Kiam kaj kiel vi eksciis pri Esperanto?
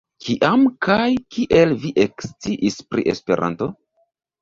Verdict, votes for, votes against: rejected, 1, 2